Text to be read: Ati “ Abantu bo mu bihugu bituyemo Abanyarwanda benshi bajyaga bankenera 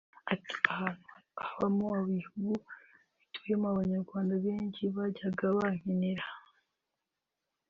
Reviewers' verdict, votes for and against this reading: rejected, 0, 2